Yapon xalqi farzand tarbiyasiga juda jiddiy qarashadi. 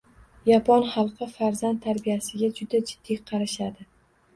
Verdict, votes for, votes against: rejected, 1, 2